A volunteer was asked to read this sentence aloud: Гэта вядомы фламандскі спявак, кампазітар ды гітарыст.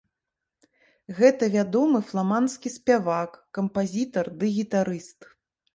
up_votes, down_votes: 3, 0